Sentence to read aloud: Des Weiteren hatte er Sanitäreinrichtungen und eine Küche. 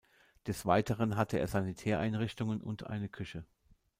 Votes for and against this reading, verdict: 2, 0, accepted